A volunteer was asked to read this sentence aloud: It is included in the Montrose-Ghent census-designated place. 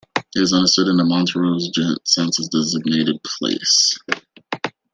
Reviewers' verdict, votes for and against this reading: rejected, 0, 2